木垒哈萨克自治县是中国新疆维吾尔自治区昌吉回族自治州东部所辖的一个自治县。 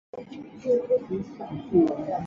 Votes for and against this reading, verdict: 0, 3, rejected